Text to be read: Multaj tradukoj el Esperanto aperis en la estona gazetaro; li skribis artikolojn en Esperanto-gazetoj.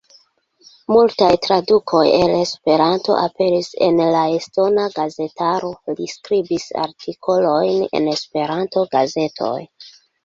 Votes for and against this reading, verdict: 2, 1, accepted